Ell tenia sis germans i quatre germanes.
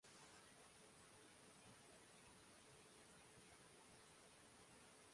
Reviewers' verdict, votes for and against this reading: rejected, 0, 2